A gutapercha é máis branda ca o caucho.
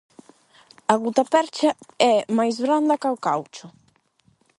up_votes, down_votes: 8, 0